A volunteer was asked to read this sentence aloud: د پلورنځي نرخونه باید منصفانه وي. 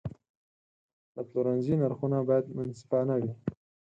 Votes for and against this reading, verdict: 0, 4, rejected